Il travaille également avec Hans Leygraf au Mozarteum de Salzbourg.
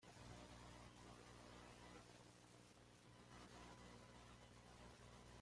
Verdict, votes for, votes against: rejected, 1, 2